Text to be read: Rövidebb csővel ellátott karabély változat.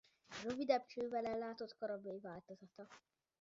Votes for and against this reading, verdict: 0, 2, rejected